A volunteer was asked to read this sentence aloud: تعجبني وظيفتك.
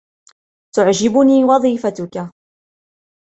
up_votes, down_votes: 2, 0